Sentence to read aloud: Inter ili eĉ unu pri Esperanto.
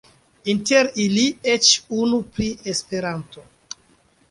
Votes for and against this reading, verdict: 2, 0, accepted